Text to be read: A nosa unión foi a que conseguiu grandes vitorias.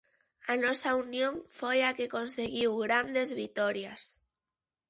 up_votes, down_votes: 2, 0